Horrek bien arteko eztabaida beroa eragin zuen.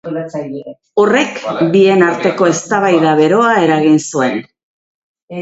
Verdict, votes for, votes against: rejected, 1, 2